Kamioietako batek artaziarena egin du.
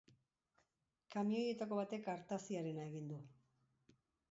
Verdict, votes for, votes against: rejected, 1, 2